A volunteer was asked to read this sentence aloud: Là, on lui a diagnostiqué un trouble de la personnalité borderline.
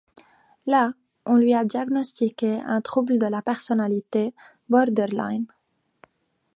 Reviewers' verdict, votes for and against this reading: accepted, 2, 1